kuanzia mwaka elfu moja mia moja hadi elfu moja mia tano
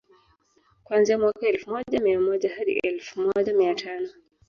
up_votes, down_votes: 2, 0